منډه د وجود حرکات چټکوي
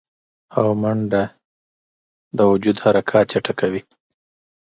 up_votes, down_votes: 0, 2